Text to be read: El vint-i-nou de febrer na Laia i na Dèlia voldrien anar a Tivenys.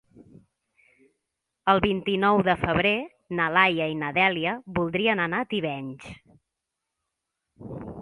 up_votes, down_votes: 4, 0